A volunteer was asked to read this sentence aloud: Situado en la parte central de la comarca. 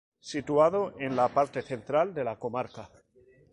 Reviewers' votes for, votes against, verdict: 2, 0, accepted